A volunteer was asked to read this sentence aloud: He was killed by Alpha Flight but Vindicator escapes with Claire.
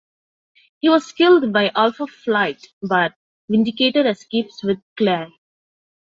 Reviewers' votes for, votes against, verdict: 2, 0, accepted